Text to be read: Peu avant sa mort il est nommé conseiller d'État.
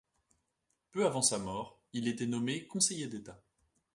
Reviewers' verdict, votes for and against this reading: rejected, 1, 2